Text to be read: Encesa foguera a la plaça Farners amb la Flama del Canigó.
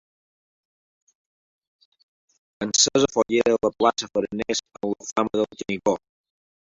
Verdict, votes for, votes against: rejected, 0, 2